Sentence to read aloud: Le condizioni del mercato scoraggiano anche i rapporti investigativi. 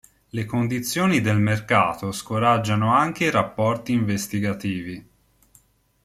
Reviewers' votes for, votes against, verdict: 2, 0, accepted